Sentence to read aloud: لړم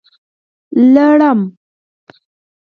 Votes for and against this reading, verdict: 4, 0, accepted